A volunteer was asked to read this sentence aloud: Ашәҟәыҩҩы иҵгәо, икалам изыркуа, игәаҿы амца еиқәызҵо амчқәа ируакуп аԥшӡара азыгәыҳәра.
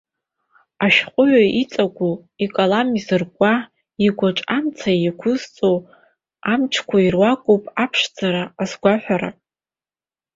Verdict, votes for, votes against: rejected, 0, 2